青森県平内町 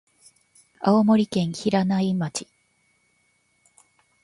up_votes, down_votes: 2, 0